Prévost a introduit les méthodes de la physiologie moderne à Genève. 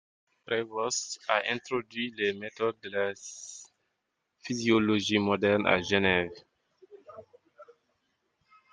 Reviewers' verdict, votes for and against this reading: rejected, 1, 2